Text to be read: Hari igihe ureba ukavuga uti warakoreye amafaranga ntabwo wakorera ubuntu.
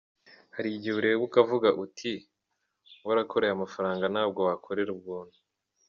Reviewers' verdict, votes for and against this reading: rejected, 1, 2